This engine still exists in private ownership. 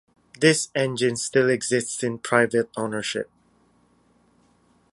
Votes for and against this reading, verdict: 2, 0, accepted